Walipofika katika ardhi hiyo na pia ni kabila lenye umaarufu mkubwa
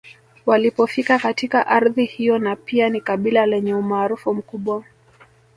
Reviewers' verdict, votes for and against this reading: accepted, 2, 0